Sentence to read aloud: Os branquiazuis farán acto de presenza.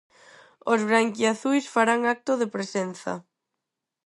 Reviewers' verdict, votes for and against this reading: accepted, 6, 0